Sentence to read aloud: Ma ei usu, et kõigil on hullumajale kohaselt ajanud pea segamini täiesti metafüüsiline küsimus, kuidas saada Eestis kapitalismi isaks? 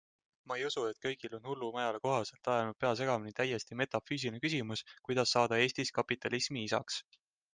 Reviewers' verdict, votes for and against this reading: accepted, 2, 0